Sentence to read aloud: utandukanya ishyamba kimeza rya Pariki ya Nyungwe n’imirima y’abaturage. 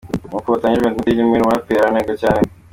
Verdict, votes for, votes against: rejected, 0, 2